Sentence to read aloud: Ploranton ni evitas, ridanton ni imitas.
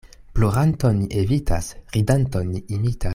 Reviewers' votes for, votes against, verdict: 1, 2, rejected